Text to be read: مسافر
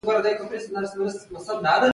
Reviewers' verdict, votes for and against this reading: rejected, 1, 2